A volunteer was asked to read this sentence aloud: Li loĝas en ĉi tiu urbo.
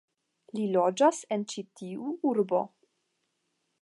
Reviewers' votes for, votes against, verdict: 10, 0, accepted